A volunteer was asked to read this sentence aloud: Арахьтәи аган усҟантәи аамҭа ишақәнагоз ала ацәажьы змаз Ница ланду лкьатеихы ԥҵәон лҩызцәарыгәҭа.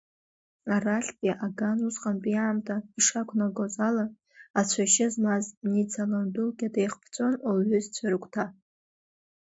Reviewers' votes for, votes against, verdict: 0, 2, rejected